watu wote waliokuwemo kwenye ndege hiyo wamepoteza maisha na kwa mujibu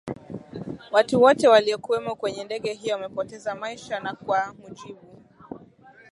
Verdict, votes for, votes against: accepted, 18, 1